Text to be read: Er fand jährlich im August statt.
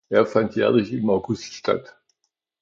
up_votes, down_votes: 2, 0